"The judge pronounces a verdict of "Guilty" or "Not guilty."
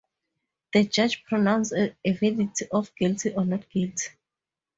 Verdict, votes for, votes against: rejected, 2, 2